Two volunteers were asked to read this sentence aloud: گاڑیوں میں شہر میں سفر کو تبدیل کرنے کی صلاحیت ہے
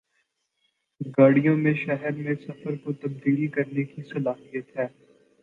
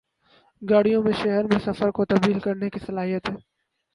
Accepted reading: first